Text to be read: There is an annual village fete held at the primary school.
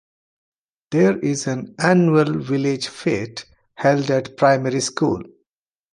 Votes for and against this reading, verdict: 1, 2, rejected